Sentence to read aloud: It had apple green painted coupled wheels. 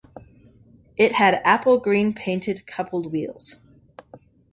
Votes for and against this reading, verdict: 2, 0, accepted